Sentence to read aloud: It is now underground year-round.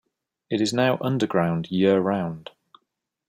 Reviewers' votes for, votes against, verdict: 2, 0, accepted